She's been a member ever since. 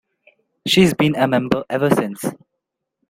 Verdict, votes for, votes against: accepted, 2, 0